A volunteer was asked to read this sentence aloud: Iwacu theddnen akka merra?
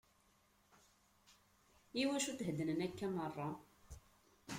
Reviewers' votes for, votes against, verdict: 0, 2, rejected